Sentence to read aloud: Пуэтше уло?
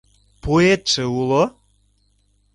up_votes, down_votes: 2, 0